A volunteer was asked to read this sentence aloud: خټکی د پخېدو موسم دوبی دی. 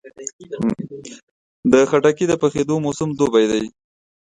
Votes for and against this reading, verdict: 2, 1, accepted